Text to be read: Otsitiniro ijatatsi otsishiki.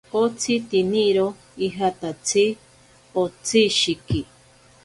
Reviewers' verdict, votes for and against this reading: accepted, 2, 0